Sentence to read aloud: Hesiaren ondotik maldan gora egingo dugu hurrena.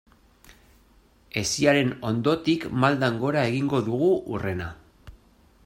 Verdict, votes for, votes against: accepted, 2, 1